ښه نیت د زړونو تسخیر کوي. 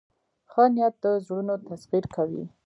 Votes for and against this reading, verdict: 2, 0, accepted